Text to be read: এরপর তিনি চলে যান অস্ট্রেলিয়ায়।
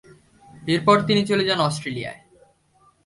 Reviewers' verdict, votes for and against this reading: accepted, 2, 0